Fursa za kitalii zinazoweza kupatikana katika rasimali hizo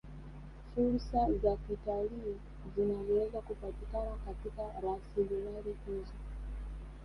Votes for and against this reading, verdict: 2, 1, accepted